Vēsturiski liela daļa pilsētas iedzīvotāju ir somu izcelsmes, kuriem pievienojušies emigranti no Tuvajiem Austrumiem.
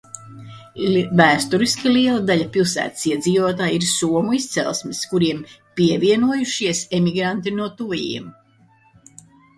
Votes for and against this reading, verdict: 0, 2, rejected